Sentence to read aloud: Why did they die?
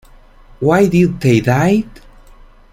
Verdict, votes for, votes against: rejected, 2, 3